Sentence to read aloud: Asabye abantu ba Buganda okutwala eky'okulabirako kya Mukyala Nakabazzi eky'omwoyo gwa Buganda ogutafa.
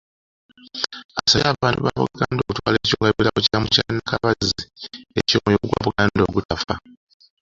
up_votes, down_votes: 1, 2